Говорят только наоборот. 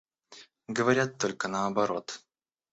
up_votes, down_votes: 2, 0